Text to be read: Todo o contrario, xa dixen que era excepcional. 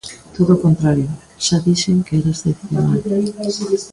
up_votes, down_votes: 1, 2